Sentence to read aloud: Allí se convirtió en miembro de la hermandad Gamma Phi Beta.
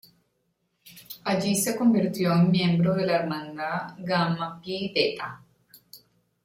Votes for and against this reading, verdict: 1, 2, rejected